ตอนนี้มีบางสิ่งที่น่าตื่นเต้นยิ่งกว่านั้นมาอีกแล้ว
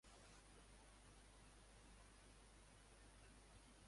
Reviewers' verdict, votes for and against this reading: rejected, 0, 2